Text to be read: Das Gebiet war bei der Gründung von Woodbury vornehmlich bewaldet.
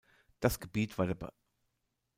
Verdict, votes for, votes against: rejected, 0, 2